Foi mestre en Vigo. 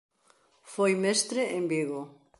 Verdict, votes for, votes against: accepted, 2, 0